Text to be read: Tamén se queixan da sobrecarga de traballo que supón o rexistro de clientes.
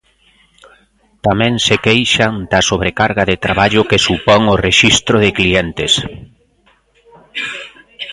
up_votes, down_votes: 1, 2